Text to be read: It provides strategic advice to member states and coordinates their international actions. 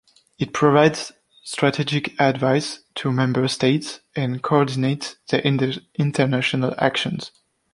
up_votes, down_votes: 2, 1